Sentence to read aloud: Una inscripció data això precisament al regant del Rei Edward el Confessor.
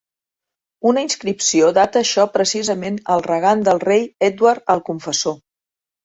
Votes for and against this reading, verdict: 1, 2, rejected